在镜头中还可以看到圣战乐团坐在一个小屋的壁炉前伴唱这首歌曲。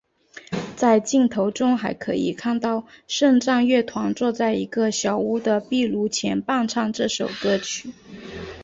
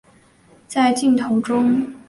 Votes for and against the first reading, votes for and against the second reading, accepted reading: 4, 0, 1, 3, first